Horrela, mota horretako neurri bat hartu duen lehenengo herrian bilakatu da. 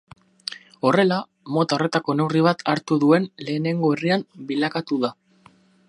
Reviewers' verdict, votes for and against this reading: accepted, 6, 0